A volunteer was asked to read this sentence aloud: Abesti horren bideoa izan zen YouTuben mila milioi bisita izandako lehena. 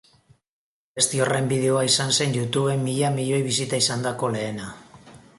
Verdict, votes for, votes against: accepted, 4, 1